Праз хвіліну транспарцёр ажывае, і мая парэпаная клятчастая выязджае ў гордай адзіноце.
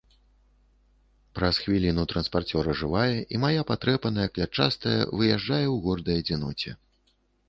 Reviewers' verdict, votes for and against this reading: rejected, 1, 2